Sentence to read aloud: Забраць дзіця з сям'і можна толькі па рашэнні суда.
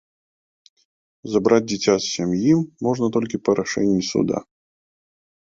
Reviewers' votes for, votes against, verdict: 2, 0, accepted